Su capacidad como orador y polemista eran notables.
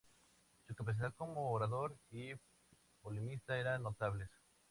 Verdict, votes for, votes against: rejected, 0, 2